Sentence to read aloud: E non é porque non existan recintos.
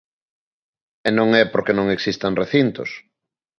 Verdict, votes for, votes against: accepted, 2, 0